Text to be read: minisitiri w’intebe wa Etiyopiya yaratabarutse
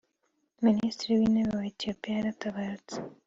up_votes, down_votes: 2, 0